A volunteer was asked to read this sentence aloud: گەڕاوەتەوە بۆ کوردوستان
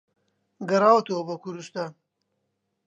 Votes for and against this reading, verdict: 2, 0, accepted